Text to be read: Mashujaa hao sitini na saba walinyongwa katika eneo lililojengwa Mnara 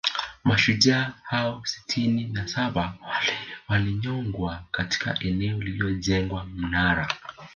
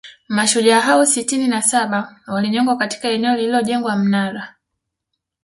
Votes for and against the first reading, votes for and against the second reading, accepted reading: 1, 2, 2, 0, second